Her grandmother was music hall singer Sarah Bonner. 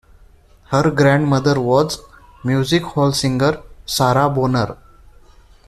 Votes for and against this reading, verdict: 2, 1, accepted